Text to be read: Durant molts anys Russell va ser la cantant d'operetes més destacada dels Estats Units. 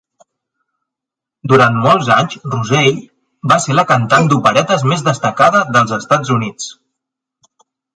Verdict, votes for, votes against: rejected, 1, 2